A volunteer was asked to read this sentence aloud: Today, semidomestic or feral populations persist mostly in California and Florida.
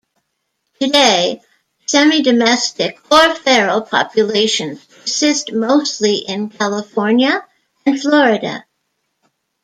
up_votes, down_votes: 1, 2